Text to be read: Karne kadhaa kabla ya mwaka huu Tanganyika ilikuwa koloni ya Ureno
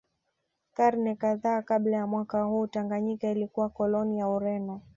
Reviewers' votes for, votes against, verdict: 2, 0, accepted